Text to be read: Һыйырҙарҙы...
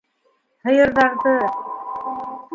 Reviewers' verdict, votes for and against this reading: accepted, 2, 0